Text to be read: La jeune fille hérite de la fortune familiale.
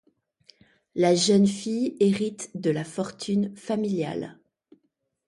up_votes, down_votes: 2, 0